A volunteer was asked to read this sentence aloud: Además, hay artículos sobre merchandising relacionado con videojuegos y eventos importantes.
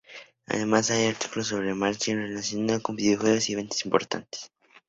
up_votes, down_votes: 0, 2